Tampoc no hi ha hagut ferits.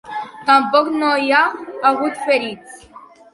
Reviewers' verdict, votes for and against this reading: accepted, 2, 1